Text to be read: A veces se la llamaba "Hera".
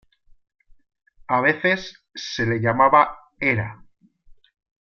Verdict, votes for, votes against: rejected, 0, 2